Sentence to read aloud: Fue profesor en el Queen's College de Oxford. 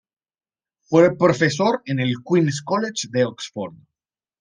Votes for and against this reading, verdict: 2, 0, accepted